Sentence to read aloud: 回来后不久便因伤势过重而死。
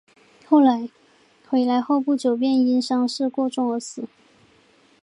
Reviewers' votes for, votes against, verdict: 2, 1, accepted